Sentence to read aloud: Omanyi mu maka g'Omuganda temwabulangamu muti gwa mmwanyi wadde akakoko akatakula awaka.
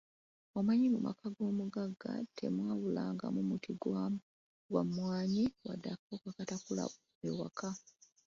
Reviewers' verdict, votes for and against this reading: rejected, 0, 2